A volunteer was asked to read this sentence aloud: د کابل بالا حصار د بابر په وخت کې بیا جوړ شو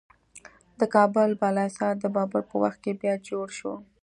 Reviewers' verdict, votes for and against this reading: accepted, 2, 0